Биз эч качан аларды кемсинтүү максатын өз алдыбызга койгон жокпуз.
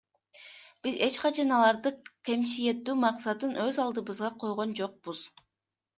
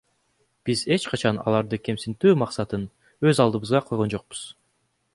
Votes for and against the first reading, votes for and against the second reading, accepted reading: 0, 2, 2, 1, second